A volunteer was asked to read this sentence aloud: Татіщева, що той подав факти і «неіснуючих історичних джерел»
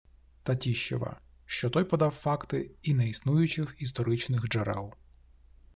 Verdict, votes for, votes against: accepted, 2, 0